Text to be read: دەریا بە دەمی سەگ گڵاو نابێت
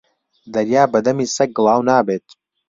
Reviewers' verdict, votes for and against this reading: accepted, 3, 0